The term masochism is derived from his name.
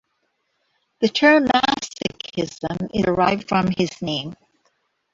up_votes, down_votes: 2, 1